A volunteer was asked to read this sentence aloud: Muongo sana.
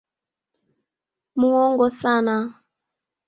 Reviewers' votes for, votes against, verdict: 2, 1, accepted